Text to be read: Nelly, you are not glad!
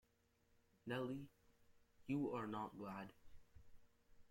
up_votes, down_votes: 0, 2